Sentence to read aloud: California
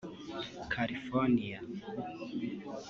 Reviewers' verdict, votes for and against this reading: rejected, 1, 3